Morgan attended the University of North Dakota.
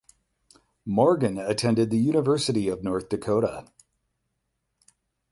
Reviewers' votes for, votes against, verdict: 8, 0, accepted